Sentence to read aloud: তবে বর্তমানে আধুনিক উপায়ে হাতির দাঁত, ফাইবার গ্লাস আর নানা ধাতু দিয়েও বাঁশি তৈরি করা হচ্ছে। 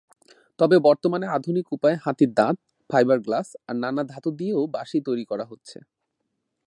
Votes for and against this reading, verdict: 2, 0, accepted